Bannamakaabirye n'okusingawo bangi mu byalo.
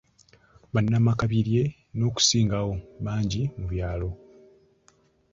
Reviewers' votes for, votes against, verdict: 2, 0, accepted